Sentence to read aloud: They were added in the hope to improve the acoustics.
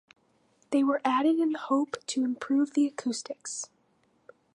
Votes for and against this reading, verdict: 0, 2, rejected